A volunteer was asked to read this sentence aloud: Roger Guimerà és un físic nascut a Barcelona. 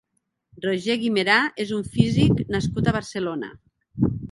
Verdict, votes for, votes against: accepted, 3, 0